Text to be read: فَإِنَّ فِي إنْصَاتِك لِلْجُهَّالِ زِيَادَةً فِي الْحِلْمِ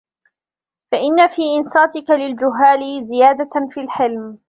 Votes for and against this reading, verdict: 0, 2, rejected